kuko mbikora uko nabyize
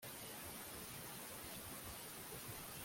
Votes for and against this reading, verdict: 0, 2, rejected